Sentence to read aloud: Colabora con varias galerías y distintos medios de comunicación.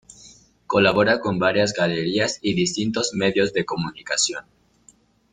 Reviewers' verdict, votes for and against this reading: accepted, 2, 0